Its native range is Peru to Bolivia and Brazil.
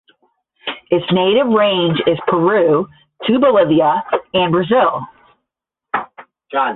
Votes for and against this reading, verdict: 0, 10, rejected